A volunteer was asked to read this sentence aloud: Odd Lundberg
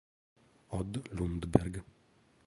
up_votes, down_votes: 1, 3